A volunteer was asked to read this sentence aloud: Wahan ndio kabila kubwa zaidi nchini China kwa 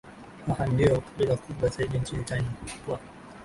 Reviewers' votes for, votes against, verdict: 0, 2, rejected